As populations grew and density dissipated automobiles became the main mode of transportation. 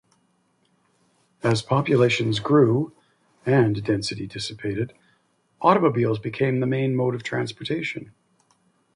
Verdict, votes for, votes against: accepted, 2, 0